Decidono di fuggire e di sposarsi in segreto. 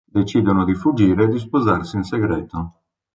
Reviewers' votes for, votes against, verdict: 2, 0, accepted